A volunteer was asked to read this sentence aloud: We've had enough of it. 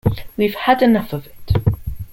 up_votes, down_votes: 2, 0